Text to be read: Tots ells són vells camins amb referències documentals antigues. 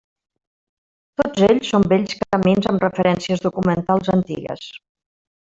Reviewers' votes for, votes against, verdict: 0, 2, rejected